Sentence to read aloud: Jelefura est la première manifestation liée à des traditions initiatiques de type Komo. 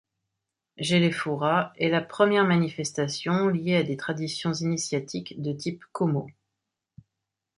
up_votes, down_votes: 2, 1